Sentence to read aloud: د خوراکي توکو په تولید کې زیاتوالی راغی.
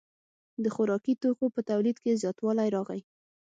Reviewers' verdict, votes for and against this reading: accepted, 6, 0